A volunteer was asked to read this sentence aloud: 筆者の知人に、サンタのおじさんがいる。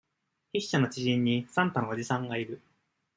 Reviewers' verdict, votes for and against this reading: accepted, 2, 0